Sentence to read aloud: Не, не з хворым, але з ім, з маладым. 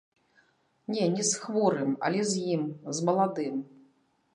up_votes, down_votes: 0, 2